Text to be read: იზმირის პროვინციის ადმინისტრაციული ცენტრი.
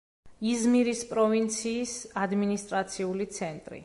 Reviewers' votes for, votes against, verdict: 2, 0, accepted